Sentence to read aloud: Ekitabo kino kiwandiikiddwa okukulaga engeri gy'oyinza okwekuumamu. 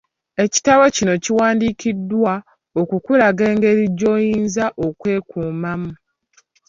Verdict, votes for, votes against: accepted, 2, 0